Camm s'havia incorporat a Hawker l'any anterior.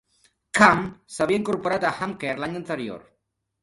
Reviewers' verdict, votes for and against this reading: accepted, 2, 1